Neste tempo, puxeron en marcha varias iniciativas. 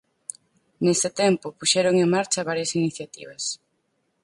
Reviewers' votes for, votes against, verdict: 2, 4, rejected